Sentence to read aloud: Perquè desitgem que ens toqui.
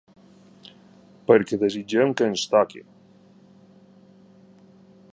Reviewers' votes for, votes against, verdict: 2, 0, accepted